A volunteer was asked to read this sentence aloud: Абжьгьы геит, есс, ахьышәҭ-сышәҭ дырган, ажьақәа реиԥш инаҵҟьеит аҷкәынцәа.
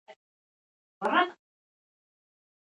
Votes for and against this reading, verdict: 0, 2, rejected